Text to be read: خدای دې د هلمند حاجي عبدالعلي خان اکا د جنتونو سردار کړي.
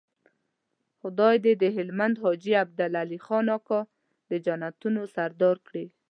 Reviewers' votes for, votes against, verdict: 2, 0, accepted